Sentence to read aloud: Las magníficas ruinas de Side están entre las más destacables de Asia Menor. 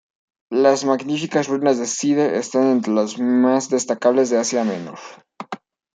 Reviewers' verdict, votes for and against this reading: rejected, 0, 2